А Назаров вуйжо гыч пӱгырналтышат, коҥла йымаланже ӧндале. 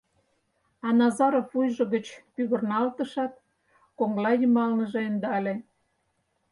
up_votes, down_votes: 2, 4